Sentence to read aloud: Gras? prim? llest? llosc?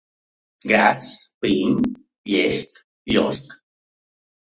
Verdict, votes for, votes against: accepted, 2, 0